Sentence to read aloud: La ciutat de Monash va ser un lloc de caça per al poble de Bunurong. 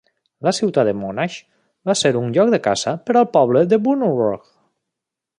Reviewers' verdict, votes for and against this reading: rejected, 0, 2